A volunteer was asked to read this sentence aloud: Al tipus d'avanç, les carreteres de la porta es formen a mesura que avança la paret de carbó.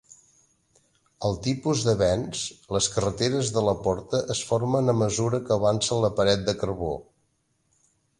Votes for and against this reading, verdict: 0, 2, rejected